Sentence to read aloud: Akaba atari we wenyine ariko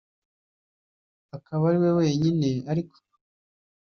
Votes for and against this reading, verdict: 2, 0, accepted